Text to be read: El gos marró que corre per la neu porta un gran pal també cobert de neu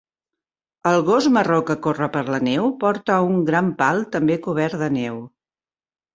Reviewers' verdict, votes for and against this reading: accepted, 3, 0